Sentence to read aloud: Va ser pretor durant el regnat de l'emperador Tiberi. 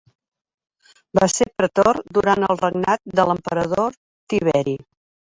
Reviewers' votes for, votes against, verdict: 3, 0, accepted